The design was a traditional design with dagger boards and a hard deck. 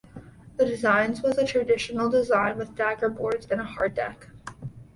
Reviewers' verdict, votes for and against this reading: rejected, 0, 2